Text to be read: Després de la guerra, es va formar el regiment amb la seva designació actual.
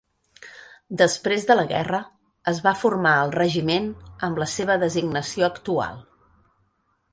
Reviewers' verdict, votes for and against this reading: accepted, 4, 0